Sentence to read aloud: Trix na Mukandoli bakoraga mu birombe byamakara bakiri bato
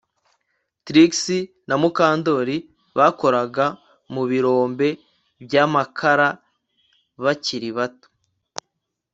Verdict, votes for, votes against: accepted, 2, 0